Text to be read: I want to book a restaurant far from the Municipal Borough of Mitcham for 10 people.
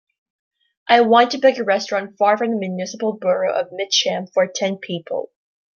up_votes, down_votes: 0, 2